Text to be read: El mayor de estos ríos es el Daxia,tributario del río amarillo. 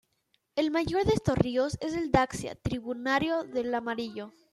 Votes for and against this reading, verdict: 0, 2, rejected